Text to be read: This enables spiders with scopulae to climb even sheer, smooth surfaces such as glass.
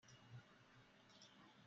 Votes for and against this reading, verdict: 0, 2, rejected